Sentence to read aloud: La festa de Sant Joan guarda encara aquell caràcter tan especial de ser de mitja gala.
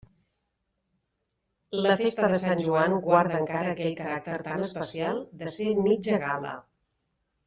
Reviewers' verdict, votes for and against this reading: rejected, 1, 2